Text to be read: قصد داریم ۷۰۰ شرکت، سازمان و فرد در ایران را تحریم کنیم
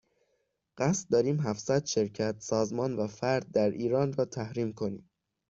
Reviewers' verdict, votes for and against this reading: rejected, 0, 2